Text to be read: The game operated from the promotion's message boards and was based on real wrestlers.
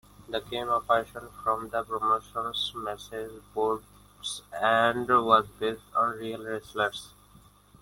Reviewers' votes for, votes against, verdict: 0, 2, rejected